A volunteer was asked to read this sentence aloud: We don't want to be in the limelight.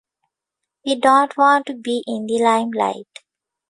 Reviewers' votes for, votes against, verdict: 2, 1, accepted